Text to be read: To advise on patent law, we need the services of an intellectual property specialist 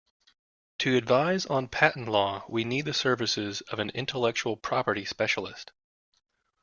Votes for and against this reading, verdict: 2, 0, accepted